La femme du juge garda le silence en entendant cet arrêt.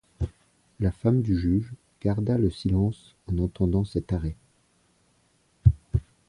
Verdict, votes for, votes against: accepted, 2, 0